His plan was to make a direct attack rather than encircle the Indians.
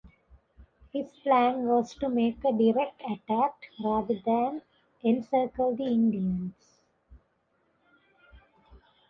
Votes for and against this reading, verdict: 2, 0, accepted